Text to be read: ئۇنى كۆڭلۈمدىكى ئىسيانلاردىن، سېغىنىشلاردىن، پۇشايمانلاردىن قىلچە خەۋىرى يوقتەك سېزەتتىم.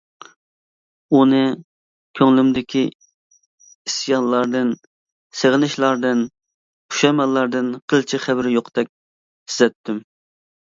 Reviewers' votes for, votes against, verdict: 0, 2, rejected